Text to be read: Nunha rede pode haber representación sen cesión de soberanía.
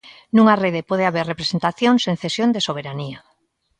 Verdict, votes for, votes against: accepted, 2, 0